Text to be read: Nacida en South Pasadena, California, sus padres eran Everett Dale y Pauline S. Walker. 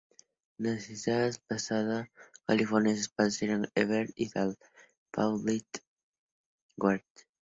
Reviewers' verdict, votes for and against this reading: rejected, 0, 2